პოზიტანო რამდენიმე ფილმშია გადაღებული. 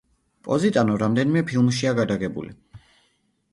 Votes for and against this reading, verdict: 2, 0, accepted